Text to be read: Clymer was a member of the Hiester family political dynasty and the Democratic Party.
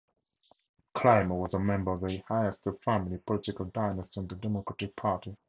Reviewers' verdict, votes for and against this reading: accepted, 2, 0